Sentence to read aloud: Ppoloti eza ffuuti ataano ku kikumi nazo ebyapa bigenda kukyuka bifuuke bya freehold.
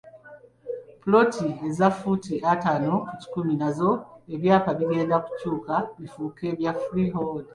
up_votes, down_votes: 2, 0